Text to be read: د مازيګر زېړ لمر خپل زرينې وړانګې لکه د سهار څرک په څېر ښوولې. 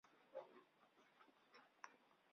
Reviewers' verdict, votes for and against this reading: rejected, 0, 2